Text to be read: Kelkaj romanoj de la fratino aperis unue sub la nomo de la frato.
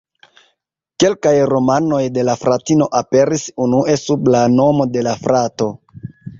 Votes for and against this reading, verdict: 2, 0, accepted